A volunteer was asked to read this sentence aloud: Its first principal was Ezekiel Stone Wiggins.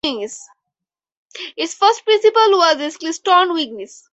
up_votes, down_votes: 2, 2